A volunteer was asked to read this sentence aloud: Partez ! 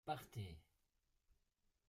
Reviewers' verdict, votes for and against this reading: rejected, 1, 2